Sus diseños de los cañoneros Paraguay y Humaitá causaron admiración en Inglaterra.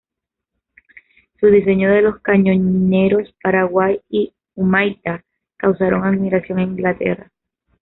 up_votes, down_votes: 1, 2